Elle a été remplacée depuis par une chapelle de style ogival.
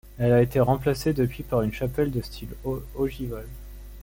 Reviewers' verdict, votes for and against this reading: rejected, 0, 2